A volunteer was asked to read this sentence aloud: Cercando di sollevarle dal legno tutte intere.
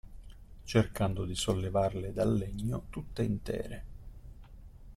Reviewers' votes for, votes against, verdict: 2, 0, accepted